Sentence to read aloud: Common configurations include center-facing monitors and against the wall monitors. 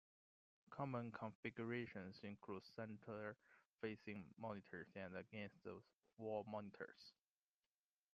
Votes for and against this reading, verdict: 2, 1, accepted